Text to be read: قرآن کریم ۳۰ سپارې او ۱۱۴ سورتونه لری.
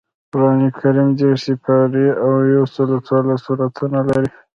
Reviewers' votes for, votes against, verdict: 0, 2, rejected